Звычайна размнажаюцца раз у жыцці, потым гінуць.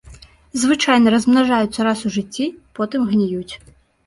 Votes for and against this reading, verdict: 0, 2, rejected